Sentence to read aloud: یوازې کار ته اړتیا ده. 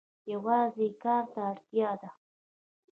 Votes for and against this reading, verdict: 0, 2, rejected